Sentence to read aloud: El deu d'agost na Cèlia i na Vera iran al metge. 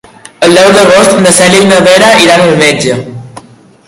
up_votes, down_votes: 2, 1